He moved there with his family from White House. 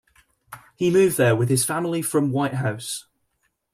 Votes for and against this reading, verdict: 1, 2, rejected